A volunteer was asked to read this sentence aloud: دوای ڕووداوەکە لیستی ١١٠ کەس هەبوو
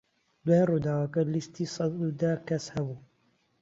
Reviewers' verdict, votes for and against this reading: rejected, 0, 2